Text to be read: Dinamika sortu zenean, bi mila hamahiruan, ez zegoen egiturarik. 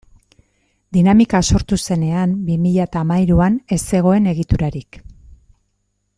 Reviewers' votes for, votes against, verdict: 2, 1, accepted